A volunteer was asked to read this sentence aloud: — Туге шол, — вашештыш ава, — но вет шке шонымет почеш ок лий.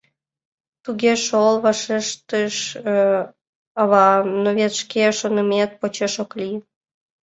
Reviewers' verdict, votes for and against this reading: accepted, 2, 1